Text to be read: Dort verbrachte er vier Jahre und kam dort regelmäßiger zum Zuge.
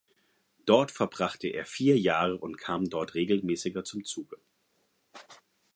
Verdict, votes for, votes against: accepted, 4, 0